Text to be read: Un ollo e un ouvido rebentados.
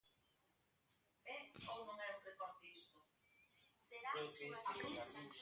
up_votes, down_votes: 0, 2